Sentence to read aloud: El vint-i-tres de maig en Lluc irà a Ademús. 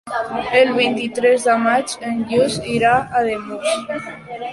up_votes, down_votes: 0, 2